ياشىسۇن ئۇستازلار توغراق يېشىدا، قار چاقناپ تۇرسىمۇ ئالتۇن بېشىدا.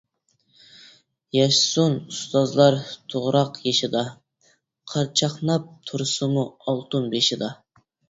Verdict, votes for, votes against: accepted, 2, 0